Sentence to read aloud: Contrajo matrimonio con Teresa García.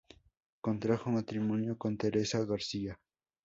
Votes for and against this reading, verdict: 2, 0, accepted